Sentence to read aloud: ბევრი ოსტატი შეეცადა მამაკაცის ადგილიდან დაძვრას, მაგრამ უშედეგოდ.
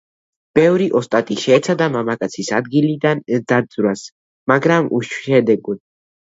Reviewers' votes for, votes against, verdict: 2, 0, accepted